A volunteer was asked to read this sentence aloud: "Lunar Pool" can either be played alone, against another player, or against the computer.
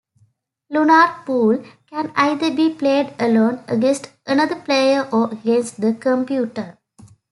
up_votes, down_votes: 2, 0